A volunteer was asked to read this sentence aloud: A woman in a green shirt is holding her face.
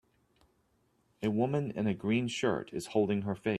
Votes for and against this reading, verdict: 0, 2, rejected